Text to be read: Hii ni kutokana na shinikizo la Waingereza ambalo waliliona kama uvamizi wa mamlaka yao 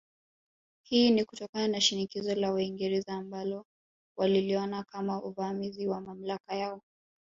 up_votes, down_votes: 2, 1